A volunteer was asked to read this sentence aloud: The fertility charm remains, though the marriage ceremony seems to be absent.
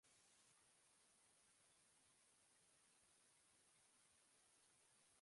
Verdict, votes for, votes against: rejected, 0, 2